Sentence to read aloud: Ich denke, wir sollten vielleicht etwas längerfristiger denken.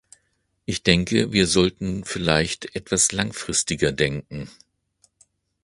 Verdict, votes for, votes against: rejected, 0, 2